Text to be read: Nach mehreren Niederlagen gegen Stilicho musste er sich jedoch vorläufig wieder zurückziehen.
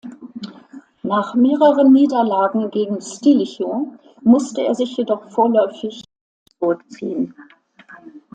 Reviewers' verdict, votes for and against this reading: rejected, 0, 2